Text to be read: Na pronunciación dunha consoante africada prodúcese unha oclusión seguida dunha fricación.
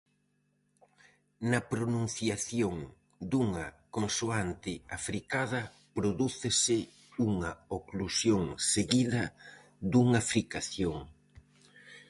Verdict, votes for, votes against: accepted, 4, 0